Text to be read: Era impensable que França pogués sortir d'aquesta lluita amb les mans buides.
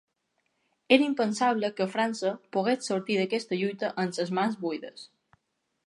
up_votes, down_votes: 1, 2